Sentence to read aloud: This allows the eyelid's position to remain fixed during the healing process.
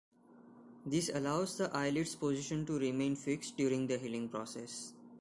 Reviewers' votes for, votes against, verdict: 2, 0, accepted